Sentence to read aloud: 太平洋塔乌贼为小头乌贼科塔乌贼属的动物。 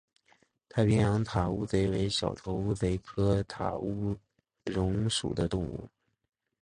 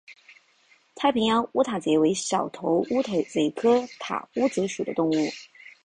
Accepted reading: second